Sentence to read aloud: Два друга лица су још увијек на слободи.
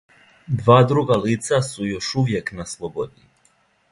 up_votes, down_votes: 2, 0